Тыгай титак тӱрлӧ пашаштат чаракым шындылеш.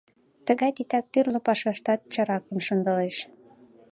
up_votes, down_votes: 2, 0